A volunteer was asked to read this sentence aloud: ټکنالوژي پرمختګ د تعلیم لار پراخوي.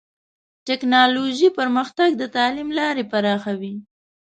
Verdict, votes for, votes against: rejected, 1, 2